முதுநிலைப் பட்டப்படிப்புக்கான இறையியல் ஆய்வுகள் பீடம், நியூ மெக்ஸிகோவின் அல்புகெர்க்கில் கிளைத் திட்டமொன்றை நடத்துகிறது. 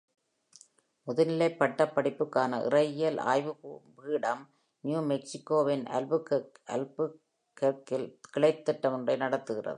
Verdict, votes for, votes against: rejected, 0, 2